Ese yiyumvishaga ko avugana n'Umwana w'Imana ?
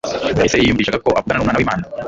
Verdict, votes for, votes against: rejected, 1, 2